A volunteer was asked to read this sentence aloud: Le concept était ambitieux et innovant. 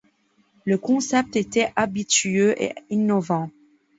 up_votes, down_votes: 0, 2